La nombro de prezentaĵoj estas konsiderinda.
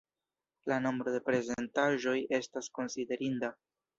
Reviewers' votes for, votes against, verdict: 0, 2, rejected